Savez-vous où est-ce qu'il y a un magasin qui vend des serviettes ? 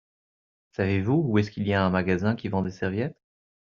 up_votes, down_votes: 2, 0